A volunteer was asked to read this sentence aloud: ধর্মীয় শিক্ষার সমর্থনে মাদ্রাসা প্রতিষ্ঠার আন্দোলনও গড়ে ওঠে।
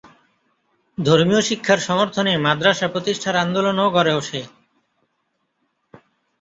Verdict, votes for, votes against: accepted, 2, 0